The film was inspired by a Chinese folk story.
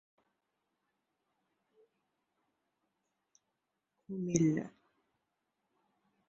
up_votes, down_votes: 0, 2